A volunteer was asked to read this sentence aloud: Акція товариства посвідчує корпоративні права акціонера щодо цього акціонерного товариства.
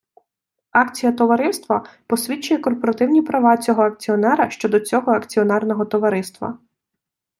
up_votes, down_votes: 0, 2